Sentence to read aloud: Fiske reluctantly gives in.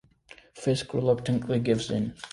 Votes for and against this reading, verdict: 2, 0, accepted